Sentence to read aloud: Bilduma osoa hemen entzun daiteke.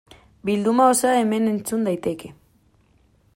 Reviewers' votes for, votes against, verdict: 2, 0, accepted